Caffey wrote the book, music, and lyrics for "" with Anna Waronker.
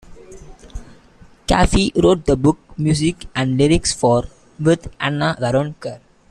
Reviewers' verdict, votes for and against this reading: rejected, 0, 2